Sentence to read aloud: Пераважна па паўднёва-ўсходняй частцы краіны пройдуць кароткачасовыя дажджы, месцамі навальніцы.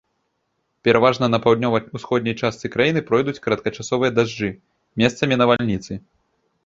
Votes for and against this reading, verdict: 2, 3, rejected